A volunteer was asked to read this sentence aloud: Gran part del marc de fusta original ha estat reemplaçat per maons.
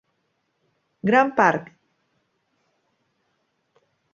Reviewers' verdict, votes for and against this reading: rejected, 0, 2